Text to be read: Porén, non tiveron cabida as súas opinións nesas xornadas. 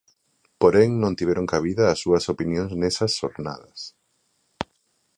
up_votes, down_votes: 2, 0